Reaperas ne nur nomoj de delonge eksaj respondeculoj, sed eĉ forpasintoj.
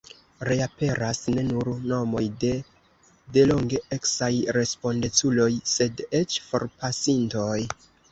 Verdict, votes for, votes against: rejected, 1, 2